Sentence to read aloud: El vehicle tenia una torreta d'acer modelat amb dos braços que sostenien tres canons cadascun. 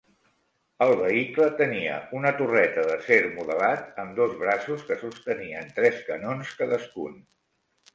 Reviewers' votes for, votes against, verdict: 3, 0, accepted